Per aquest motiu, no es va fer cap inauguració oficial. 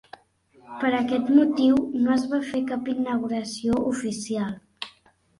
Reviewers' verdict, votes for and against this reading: accepted, 3, 1